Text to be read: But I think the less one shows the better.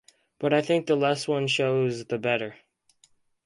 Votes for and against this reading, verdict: 4, 0, accepted